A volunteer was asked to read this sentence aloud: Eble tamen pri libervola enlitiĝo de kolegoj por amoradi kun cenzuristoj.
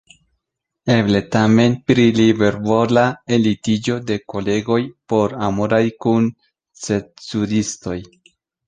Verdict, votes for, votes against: accepted, 2, 0